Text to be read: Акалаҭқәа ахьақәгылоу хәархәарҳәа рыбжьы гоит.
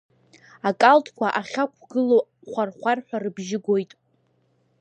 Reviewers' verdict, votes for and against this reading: rejected, 0, 2